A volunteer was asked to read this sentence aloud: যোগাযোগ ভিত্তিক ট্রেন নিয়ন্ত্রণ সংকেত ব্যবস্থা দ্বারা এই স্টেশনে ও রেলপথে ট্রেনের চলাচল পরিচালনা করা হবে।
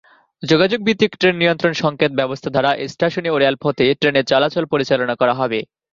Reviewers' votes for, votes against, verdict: 2, 0, accepted